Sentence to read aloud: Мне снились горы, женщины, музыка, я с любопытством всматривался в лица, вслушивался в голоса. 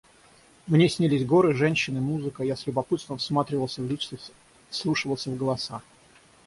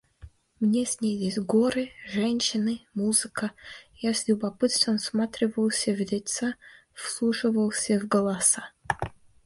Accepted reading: second